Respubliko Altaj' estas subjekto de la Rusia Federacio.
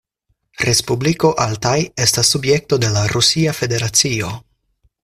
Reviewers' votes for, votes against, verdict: 4, 0, accepted